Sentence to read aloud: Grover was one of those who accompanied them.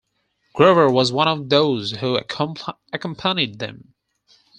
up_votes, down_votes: 0, 4